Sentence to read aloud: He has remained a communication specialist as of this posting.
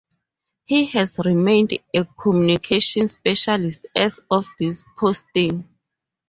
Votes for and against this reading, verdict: 0, 2, rejected